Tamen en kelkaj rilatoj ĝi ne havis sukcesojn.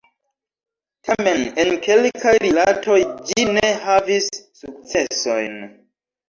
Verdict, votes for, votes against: rejected, 1, 2